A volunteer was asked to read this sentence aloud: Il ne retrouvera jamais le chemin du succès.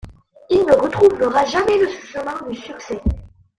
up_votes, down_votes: 0, 2